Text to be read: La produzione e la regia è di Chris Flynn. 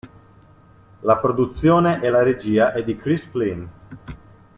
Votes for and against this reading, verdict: 2, 0, accepted